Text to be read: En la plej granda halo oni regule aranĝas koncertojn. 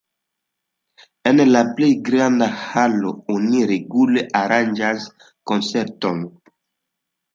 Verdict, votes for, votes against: accepted, 2, 0